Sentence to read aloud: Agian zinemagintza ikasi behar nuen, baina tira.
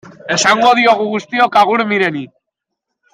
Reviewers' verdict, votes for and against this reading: rejected, 0, 2